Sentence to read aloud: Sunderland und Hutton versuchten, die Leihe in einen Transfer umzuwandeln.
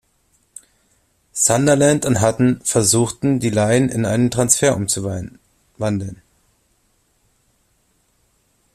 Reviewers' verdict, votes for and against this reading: rejected, 0, 2